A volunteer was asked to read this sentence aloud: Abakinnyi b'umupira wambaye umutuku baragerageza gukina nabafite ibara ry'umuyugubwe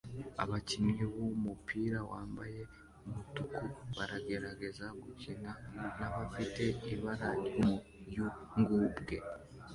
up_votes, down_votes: 1, 2